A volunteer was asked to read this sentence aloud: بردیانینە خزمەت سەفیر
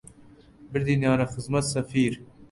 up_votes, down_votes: 1, 2